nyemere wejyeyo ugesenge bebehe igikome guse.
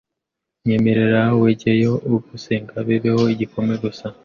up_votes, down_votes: 0, 2